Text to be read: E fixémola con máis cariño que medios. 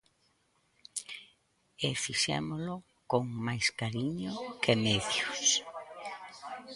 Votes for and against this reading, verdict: 0, 2, rejected